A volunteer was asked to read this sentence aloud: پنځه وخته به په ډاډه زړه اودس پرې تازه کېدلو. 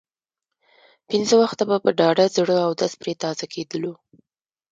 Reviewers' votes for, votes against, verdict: 0, 2, rejected